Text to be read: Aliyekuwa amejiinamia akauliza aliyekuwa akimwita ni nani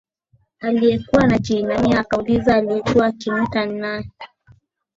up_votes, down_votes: 2, 0